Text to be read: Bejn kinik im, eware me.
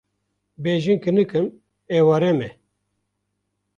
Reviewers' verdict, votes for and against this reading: rejected, 0, 2